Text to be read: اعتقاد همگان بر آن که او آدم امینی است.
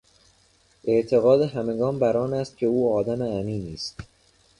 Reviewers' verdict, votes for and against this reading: rejected, 0, 2